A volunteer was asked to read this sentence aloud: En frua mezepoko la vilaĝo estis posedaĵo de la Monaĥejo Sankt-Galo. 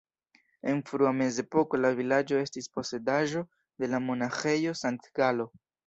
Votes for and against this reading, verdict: 1, 3, rejected